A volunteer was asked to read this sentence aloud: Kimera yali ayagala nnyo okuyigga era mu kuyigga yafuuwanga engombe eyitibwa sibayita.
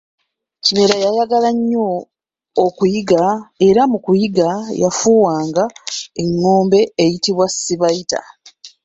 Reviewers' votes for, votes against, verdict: 0, 2, rejected